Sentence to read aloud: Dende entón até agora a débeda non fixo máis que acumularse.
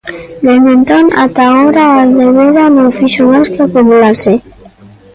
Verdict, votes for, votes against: rejected, 0, 2